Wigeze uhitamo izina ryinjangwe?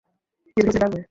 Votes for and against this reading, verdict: 0, 2, rejected